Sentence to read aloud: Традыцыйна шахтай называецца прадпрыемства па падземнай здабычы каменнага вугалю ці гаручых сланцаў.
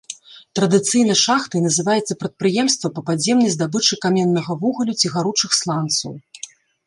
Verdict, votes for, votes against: accepted, 2, 0